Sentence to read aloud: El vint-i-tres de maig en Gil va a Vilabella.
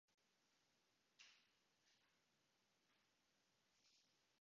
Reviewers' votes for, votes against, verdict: 0, 2, rejected